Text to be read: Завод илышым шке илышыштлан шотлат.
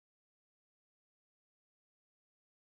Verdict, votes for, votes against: rejected, 1, 2